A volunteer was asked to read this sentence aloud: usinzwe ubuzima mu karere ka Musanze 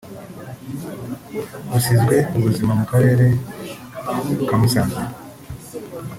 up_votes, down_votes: 0, 2